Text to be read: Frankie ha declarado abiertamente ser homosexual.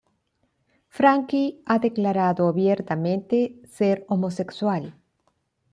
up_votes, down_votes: 2, 0